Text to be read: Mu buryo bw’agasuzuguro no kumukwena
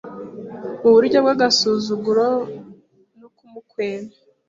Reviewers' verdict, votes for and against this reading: accepted, 2, 1